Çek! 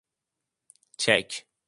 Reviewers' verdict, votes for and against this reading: accepted, 2, 0